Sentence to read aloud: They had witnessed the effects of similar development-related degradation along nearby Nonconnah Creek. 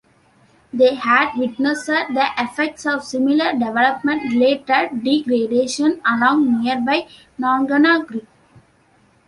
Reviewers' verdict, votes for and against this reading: rejected, 1, 2